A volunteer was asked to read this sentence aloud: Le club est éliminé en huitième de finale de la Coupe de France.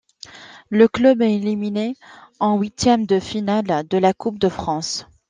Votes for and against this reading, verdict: 2, 1, accepted